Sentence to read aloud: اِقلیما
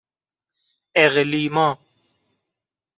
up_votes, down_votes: 3, 0